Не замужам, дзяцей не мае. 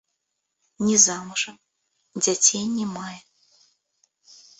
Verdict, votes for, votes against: rejected, 0, 2